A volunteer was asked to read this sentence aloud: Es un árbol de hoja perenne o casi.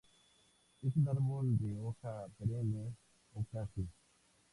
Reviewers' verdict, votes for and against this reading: rejected, 0, 2